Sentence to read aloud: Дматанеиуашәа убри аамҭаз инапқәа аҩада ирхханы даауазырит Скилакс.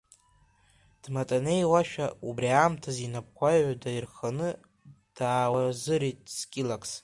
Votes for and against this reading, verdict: 2, 1, accepted